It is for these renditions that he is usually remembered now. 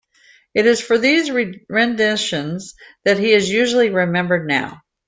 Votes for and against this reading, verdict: 0, 2, rejected